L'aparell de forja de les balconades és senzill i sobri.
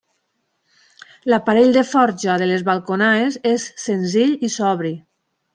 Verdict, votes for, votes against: rejected, 0, 2